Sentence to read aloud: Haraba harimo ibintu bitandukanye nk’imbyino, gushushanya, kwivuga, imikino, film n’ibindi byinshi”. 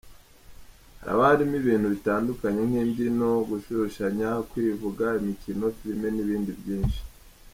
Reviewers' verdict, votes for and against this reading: rejected, 0, 2